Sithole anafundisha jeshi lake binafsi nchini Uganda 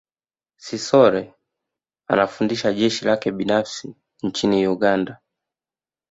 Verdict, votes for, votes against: accepted, 2, 0